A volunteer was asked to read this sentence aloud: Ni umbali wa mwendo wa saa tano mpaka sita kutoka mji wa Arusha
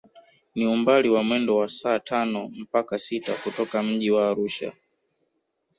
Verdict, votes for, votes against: rejected, 0, 2